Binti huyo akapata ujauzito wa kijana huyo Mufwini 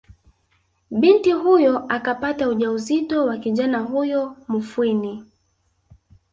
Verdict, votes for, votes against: rejected, 1, 2